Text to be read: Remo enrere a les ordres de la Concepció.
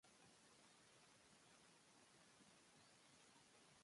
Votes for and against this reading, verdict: 1, 2, rejected